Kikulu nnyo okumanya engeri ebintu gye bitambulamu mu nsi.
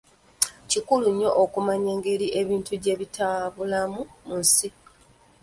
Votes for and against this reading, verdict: 0, 2, rejected